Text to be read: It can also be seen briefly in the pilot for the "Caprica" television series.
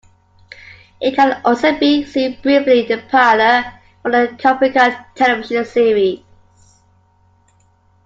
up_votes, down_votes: 0, 2